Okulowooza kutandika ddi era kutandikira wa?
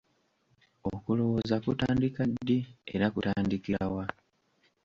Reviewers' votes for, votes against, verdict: 2, 0, accepted